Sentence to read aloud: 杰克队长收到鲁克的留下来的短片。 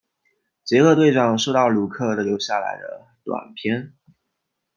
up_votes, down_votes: 0, 2